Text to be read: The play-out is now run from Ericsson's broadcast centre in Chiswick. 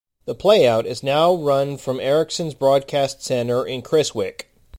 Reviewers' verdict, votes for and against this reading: accepted, 2, 1